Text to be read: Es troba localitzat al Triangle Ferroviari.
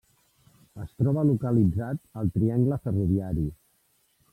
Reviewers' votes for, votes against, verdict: 1, 2, rejected